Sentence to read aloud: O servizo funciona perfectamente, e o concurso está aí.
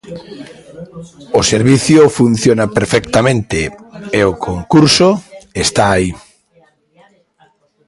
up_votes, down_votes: 1, 2